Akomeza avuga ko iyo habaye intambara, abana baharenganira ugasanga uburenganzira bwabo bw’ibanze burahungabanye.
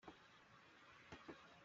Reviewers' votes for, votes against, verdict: 0, 2, rejected